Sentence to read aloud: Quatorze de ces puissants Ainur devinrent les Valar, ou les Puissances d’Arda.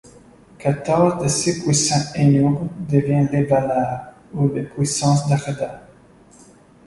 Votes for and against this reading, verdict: 3, 1, accepted